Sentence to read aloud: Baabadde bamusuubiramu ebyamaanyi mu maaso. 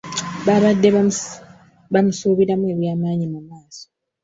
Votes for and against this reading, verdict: 1, 2, rejected